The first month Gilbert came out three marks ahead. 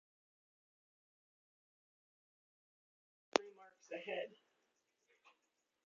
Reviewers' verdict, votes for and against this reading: rejected, 0, 2